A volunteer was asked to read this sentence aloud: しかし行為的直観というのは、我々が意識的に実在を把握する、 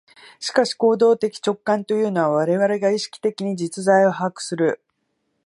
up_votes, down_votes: 2, 0